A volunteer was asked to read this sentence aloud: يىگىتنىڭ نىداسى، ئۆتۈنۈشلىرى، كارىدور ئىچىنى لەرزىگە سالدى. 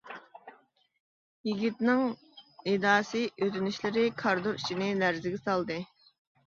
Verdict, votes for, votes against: rejected, 0, 2